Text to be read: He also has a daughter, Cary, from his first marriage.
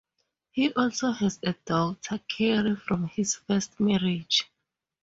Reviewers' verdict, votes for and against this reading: accepted, 4, 0